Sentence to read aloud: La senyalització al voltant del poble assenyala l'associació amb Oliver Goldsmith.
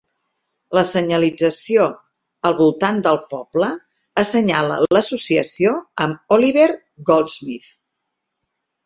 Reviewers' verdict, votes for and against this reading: accepted, 4, 0